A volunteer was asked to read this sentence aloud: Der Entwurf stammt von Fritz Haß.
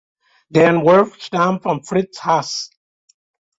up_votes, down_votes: 0, 2